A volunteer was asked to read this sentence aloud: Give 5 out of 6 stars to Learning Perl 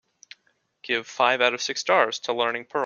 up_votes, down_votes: 0, 2